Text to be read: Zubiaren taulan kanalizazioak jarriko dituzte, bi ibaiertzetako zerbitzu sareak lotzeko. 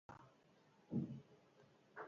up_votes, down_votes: 0, 4